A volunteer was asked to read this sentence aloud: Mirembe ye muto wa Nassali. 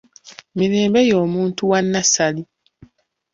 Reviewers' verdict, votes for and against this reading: rejected, 1, 2